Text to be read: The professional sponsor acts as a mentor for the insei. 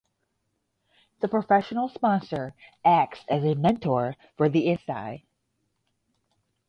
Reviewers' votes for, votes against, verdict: 0, 5, rejected